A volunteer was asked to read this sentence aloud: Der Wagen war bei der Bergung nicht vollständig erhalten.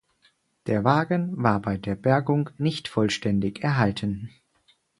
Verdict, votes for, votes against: accepted, 4, 0